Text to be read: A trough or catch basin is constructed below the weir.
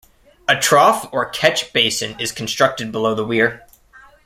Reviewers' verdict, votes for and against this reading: accepted, 2, 0